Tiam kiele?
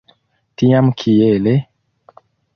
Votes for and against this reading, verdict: 3, 1, accepted